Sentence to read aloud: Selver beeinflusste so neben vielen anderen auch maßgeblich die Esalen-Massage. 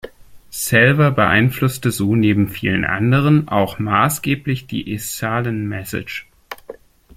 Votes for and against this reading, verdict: 0, 2, rejected